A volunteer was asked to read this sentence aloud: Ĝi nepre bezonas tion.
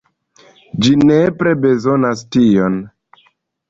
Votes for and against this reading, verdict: 2, 0, accepted